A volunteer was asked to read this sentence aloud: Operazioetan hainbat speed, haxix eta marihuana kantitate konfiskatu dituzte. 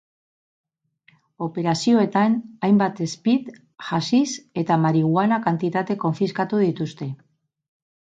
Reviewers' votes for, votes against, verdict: 2, 2, rejected